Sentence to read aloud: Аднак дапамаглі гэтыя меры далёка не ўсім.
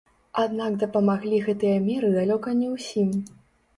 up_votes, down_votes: 0, 2